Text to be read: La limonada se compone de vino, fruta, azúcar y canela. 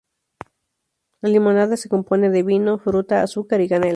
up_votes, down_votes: 4, 4